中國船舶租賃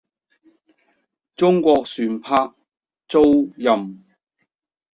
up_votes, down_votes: 0, 2